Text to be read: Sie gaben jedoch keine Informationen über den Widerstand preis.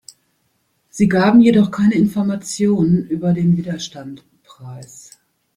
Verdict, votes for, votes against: accepted, 2, 0